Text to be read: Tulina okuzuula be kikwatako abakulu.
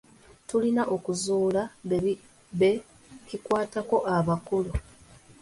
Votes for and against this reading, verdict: 1, 2, rejected